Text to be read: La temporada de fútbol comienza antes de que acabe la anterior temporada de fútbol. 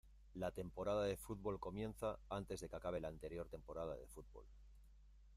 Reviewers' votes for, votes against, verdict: 1, 2, rejected